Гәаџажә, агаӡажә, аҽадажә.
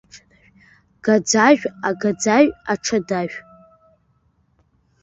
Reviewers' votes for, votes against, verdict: 0, 2, rejected